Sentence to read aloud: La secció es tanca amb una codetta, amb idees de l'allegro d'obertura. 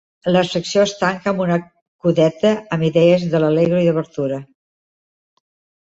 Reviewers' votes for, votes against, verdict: 2, 1, accepted